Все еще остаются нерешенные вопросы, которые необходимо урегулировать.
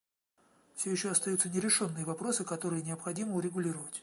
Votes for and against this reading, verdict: 2, 0, accepted